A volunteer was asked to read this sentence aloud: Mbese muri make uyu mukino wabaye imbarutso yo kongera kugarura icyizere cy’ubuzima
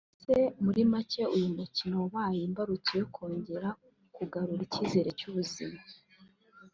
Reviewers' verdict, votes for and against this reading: accepted, 2, 0